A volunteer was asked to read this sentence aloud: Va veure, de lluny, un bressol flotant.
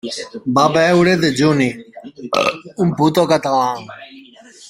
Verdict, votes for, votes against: rejected, 0, 2